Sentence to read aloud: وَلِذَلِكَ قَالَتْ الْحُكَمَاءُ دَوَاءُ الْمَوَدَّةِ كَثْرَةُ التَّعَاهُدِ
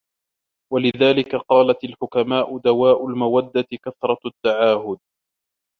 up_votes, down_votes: 0, 2